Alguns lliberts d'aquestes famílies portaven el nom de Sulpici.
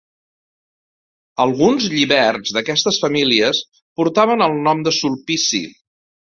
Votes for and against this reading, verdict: 2, 0, accepted